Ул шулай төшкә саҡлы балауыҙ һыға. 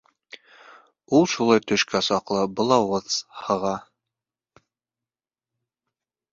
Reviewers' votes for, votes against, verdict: 0, 3, rejected